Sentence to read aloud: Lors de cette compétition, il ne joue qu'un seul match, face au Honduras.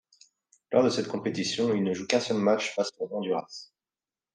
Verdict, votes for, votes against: accepted, 2, 0